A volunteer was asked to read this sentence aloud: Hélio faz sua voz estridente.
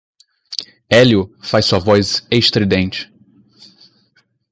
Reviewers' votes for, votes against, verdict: 2, 0, accepted